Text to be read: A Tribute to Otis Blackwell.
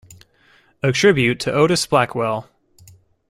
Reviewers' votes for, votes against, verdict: 2, 0, accepted